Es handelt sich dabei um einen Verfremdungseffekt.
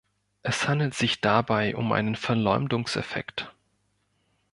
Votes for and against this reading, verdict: 1, 2, rejected